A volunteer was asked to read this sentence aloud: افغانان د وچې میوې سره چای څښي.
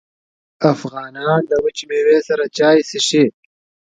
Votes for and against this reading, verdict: 0, 2, rejected